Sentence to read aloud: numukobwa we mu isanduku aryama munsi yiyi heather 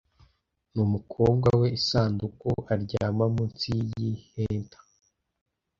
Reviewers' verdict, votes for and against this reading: rejected, 1, 2